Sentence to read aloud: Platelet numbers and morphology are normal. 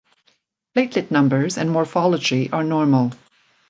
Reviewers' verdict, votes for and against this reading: accepted, 2, 0